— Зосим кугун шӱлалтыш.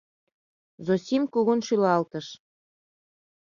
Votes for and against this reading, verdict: 2, 0, accepted